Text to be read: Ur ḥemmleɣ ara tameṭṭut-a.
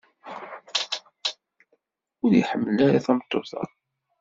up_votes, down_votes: 1, 2